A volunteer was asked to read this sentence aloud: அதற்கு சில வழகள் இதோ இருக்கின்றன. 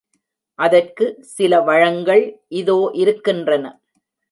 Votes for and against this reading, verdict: 1, 2, rejected